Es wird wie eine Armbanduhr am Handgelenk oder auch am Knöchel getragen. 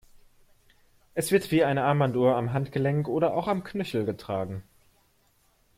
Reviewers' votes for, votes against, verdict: 2, 0, accepted